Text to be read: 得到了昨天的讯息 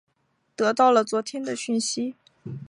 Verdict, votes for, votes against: accepted, 3, 0